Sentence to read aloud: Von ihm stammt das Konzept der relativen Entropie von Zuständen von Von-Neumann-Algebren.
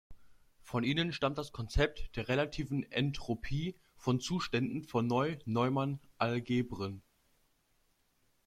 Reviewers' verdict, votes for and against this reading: rejected, 1, 2